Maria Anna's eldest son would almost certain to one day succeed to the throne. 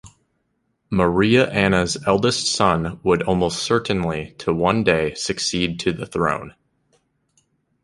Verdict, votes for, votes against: rejected, 0, 2